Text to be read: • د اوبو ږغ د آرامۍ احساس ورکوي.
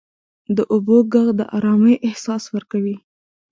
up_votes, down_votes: 1, 2